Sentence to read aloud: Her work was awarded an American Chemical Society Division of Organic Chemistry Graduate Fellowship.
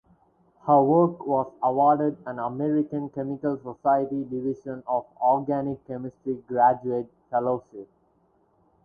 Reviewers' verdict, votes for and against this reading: rejected, 0, 4